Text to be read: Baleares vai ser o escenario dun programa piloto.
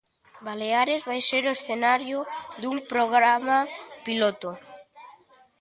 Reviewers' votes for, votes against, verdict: 2, 0, accepted